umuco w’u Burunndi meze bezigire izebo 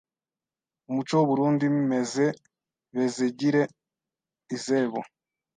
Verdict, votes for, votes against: rejected, 1, 2